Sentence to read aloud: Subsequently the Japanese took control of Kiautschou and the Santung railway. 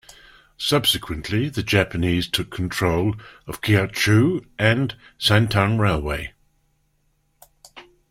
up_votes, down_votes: 0, 2